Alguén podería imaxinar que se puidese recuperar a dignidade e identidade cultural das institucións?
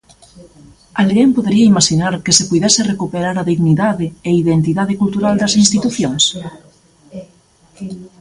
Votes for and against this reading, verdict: 0, 2, rejected